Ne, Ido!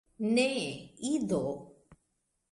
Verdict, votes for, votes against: accepted, 2, 0